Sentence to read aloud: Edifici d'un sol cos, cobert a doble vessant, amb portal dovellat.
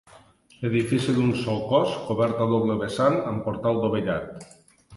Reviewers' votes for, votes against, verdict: 2, 0, accepted